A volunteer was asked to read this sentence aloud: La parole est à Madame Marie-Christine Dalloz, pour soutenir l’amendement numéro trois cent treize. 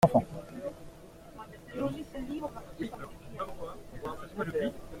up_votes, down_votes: 0, 2